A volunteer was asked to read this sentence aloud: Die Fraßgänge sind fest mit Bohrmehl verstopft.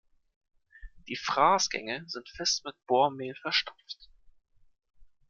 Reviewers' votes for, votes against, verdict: 2, 0, accepted